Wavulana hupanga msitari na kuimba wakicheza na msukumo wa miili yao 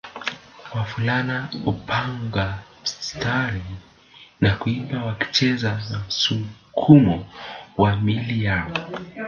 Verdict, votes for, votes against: rejected, 1, 2